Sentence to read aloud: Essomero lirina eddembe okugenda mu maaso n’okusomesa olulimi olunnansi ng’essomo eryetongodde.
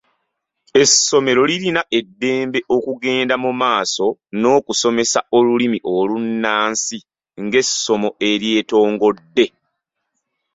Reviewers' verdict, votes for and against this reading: accepted, 2, 0